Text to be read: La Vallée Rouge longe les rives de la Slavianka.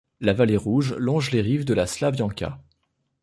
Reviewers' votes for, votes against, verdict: 2, 0, accepted